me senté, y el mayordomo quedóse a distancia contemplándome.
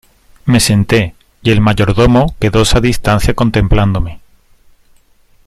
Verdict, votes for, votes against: accepted, 2, 1